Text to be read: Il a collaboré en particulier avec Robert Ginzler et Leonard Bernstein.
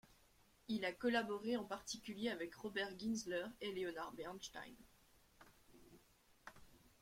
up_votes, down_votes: 1, 2